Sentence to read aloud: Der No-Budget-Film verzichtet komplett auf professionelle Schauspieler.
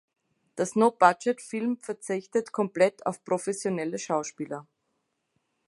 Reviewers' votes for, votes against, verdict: 0, 2, rejected